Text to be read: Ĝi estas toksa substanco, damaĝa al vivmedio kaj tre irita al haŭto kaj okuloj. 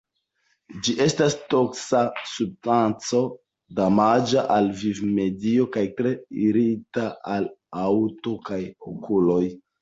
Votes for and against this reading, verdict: 1, 2, rejected